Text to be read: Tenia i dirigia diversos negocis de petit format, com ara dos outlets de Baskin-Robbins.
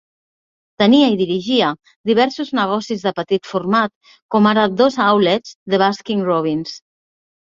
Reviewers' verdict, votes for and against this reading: accepted, 2, 0